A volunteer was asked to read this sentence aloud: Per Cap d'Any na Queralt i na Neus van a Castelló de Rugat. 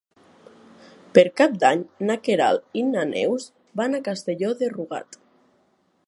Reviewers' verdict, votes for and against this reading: accepted, 3, 0